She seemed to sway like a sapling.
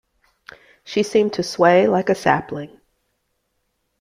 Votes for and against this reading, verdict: 2, 0, accepted